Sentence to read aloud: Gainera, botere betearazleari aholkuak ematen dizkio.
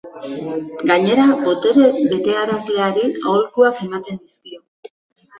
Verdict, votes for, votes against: rejected, 1, 2